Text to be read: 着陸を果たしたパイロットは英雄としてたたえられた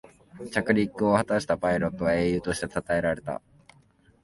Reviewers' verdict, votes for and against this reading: accepted, 2, 0